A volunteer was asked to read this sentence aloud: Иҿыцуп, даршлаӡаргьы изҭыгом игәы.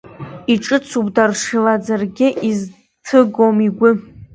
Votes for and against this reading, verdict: 0, 2, rejected